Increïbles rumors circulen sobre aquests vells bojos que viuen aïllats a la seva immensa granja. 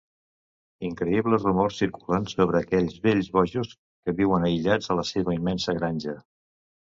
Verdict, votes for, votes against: rejected, 1, 2